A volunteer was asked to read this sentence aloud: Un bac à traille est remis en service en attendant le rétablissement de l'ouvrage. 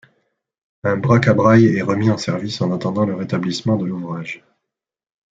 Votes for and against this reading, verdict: 0, 2, rejected